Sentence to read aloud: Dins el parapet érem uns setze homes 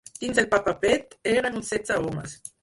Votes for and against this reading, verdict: 0, 4, rejected